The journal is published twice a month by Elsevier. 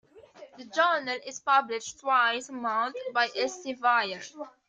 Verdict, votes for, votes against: rejected, 0, 2